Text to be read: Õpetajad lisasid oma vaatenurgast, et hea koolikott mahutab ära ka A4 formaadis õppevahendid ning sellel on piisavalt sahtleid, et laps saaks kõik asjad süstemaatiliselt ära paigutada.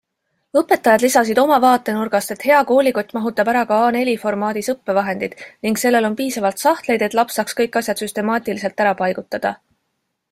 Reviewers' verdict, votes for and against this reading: rejected, 0, 2